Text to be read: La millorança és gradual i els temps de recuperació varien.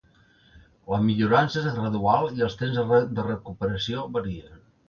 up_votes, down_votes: 1, 2